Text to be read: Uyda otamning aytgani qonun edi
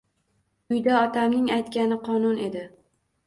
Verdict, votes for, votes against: accepted, 2, 0